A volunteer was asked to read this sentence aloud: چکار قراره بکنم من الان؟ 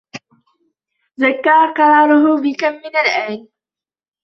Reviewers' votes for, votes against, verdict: 1, 2, rejected